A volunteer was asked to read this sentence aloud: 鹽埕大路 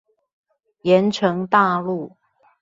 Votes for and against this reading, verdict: 2, 0, accepted